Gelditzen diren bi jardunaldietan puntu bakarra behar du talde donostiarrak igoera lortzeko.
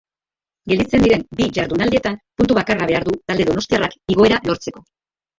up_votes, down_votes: 1, 3